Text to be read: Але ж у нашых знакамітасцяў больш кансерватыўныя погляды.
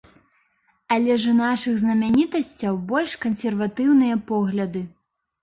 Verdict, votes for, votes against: rejected, 1, 2